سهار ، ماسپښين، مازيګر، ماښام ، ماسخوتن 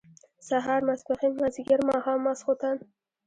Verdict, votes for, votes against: accepted, 2, 1